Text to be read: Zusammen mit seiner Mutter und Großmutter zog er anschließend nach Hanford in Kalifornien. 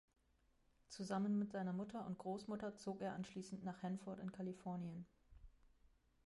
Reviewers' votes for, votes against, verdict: 1, 2, rejected